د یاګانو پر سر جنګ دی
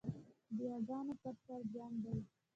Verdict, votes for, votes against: accepted, 2, 0